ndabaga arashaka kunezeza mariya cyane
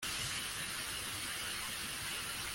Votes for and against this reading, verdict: 0, 2, rejected